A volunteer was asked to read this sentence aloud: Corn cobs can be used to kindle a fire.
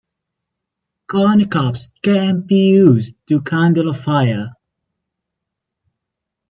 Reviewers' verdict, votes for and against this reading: rejected, 0, 2